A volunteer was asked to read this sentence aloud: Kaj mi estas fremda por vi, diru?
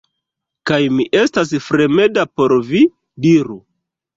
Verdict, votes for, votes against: accepted, 2, 1